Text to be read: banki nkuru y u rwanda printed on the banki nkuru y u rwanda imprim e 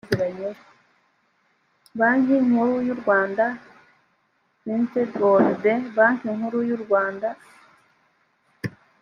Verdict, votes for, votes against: rejected, 1, 2